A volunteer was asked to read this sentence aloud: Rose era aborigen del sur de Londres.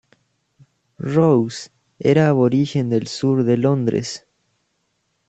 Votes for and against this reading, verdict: 3, 0, accepted